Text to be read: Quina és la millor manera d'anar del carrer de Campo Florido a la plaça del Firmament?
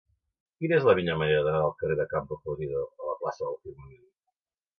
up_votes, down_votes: 2, 1